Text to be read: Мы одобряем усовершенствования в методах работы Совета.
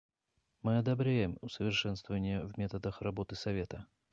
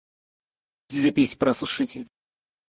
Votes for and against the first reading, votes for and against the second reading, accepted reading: 2, 0, 0, 4, first